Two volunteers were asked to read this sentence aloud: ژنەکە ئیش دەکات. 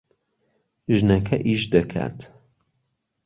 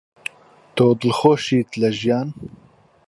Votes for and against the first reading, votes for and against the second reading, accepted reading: 2, 0, 0, 2, first